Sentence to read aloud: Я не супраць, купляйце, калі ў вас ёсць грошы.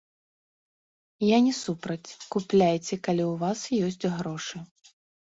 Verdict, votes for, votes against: rejected, 0, 2